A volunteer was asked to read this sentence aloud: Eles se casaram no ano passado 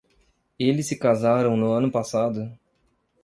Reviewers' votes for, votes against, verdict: 2, 0, accepted